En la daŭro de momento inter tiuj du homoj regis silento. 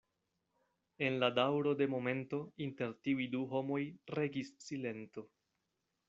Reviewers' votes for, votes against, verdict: 2, 0, accepted